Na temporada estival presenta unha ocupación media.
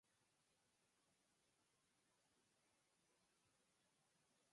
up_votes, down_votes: 0, 4